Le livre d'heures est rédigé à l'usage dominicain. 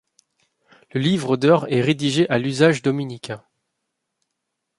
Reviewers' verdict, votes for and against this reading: accepted, 2, 0